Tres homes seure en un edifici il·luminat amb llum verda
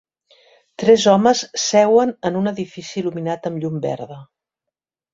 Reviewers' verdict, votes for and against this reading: rejected, 1, 2